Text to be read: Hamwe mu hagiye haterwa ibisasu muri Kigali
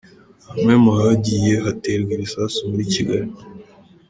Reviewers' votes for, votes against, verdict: 0, 2, rejected